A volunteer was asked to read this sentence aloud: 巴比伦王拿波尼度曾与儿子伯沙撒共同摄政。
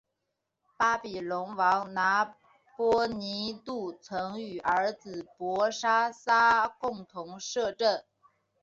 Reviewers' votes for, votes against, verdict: 4, 3, accepted